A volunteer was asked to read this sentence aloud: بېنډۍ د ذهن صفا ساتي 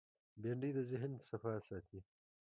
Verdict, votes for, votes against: rejected, 1, 2